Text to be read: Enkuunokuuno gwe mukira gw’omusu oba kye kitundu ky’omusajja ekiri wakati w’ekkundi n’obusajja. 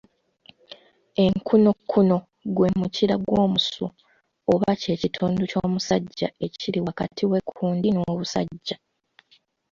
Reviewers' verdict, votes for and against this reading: accepted, 2, 0